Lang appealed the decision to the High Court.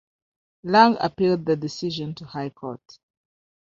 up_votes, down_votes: 1, 2